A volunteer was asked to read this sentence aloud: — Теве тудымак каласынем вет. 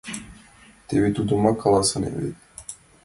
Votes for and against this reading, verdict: 2, 1, accepted